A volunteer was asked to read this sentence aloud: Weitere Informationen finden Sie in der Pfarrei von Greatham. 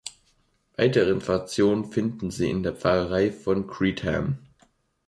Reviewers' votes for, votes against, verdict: 0, 2, rejected